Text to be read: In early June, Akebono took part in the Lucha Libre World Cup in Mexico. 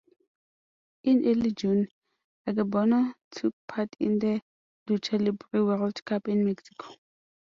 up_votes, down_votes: 2, 0